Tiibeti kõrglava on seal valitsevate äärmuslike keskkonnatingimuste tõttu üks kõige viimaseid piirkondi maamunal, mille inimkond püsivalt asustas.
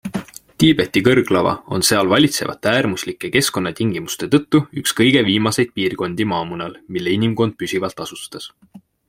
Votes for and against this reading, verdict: 2, 0, accepted